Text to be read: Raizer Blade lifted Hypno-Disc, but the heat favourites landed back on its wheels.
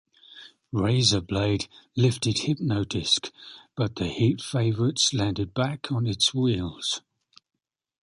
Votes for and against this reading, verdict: 2, 0, accepted